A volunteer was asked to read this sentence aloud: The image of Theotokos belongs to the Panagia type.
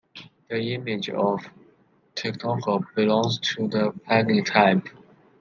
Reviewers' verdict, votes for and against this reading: rejected, 1, 2